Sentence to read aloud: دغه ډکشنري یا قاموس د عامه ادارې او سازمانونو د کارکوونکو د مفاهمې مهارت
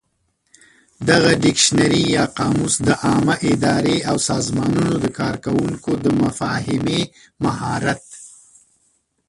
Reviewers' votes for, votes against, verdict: 1, 2, rejected